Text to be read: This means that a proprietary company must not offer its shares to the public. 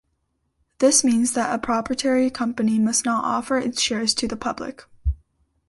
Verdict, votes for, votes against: rejected, 1, 2